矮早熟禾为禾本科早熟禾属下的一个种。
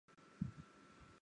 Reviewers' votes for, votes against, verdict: 1, 2, rejected